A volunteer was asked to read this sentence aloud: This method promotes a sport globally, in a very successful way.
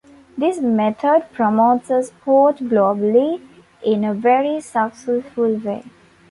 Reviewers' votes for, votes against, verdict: 2, 1, accepted